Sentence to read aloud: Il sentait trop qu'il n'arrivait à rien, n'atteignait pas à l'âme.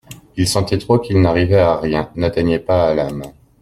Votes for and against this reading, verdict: 2, 0, accepted